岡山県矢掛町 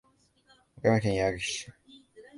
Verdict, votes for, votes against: rejected, 1, 2